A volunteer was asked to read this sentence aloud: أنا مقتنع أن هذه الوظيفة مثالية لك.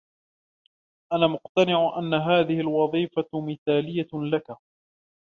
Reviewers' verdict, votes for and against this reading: accepted, 3, 2